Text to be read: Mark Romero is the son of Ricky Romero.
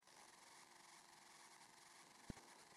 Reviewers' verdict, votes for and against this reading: rejected, 0, 2